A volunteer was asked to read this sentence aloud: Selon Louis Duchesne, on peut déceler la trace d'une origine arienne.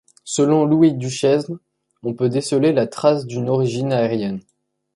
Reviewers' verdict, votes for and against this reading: rejected, 1, 2